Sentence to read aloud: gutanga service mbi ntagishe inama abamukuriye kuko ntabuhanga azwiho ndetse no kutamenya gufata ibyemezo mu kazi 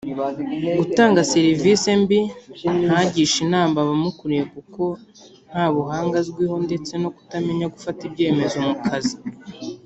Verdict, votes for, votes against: accepted, 3, 0